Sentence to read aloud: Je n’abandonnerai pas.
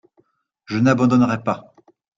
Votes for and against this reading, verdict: 2, 0, accepted